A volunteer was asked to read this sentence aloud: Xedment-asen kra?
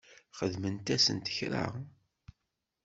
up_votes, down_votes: 1, 2